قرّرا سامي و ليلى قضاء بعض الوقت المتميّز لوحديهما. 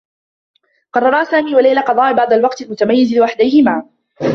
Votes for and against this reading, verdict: 2, 0, accepted